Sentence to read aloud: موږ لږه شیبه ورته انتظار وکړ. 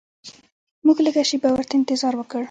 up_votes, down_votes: 1, 2